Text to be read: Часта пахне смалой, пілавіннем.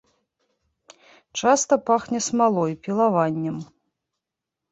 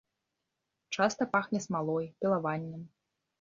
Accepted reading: second